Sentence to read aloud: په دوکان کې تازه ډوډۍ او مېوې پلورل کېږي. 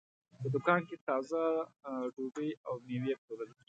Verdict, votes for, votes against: rejected, 0, 2